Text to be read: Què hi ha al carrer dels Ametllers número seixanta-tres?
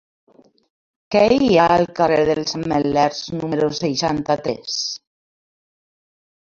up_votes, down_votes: 2, 0